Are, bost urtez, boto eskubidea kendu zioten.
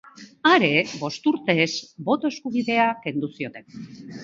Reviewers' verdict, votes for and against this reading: accepted, 2, 0